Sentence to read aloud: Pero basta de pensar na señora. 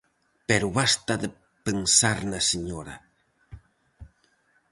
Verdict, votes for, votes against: accepted, 4, 0